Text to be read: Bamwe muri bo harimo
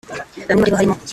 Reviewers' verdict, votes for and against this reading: rejected, 0, 2